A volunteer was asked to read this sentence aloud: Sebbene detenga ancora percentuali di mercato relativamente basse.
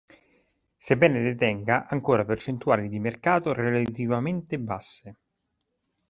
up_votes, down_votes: 1, 2